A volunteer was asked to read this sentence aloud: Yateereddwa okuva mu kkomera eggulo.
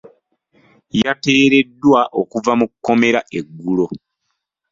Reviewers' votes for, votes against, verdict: 2, 1, accepted